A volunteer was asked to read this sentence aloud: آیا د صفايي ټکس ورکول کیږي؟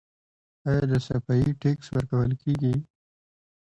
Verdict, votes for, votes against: accepted, 2, 1